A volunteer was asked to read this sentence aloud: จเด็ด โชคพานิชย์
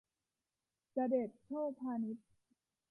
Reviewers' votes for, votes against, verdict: 1, 2, rejected